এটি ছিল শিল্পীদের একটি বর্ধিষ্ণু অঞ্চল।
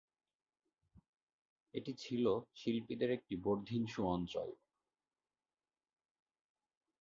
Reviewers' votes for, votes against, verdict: 1, 2, rejected